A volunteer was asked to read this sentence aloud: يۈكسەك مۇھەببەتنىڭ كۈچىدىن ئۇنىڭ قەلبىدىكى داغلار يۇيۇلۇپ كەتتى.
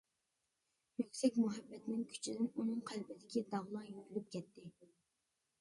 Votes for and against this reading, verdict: 2, 0, accepted